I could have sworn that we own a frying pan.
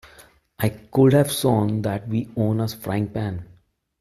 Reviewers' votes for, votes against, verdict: 2, 0, accepted